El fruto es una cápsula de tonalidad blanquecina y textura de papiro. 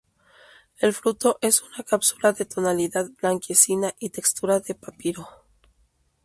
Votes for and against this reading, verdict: 0, 2, rejected